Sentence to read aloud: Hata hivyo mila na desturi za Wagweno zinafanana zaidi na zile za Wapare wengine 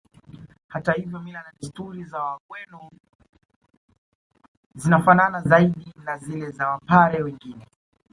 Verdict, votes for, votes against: rejected, 1, 2